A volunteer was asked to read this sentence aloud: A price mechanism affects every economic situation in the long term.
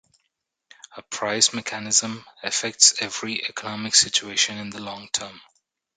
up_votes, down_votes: 2, 0